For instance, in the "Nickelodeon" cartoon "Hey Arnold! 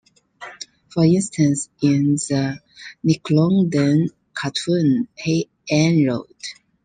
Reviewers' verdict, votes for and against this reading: accepted, 2, 0